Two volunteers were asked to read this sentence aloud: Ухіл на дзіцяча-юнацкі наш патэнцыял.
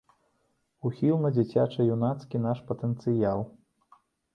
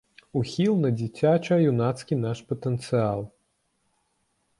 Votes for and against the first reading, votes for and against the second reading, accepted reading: 2, 0, 0, 2, first